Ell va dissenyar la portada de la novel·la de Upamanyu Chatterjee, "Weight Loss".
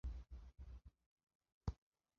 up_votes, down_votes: 1, 2